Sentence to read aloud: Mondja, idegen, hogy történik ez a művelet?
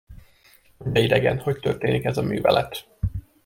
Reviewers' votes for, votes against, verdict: 1, 2, rejected